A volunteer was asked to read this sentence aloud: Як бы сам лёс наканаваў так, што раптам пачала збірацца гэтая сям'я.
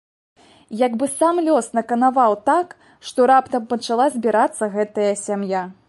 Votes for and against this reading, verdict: 2, 0, accepted